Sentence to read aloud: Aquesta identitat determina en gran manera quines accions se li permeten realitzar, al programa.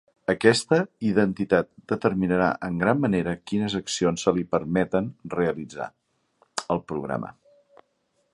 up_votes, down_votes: 0, 2